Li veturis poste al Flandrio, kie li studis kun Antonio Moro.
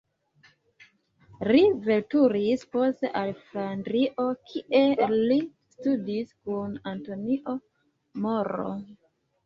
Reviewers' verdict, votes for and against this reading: rejected, 1, 2